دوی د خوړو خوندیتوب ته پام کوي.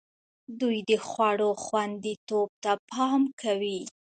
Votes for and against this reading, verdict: 2, 1, accepted